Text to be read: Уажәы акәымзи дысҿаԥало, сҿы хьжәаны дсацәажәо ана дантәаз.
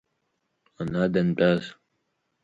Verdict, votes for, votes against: rejected, 1, 4